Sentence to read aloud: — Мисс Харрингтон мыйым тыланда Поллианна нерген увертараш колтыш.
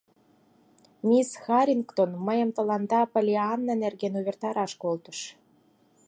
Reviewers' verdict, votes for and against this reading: accepted, 4, 0